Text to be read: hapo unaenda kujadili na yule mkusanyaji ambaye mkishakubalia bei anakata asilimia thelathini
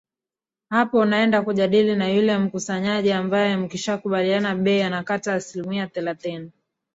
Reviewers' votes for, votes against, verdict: 1, 2, rejected